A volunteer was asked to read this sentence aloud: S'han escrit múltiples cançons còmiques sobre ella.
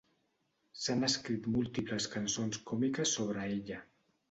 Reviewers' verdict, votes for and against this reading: accepted, 2, 0